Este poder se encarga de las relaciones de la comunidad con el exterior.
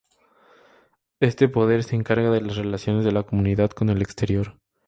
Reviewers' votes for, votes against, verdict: 2, 2, rejected